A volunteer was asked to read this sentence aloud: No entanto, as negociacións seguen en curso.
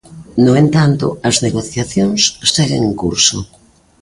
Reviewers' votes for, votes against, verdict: 4, 0, accepted